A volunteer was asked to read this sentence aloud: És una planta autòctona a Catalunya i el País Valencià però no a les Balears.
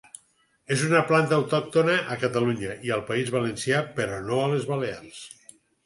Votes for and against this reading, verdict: 4, 0, accepted